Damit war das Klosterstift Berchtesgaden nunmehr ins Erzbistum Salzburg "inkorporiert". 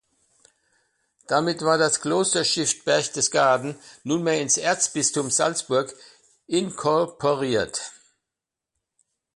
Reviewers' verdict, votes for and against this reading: accepted, 2, 0